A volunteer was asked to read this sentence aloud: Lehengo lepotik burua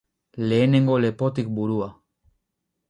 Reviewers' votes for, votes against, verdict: 2, 2, rejected